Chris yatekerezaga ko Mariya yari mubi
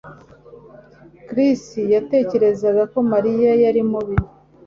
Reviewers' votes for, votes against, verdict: 2, 0, accepted